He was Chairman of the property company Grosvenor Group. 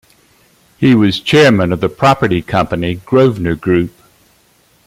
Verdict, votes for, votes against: accepted, 2, 1